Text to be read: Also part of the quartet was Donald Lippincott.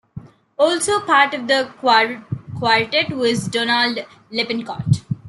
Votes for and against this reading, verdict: 0, 2, rejected